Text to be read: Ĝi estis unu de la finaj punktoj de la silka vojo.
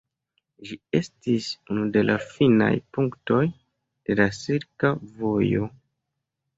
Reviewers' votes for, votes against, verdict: 2, 1, accepted